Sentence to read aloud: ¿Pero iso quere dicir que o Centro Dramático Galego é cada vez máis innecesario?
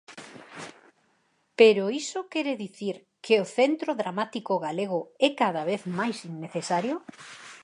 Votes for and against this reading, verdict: 4, 0, accepted